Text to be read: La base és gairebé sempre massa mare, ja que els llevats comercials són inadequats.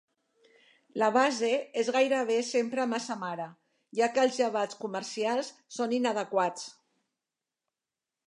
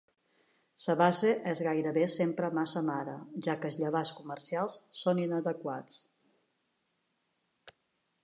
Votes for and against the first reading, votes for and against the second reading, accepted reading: 2, 0, 1, 2, first